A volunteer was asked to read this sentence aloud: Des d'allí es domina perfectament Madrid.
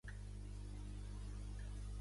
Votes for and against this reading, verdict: 1, 2, rejected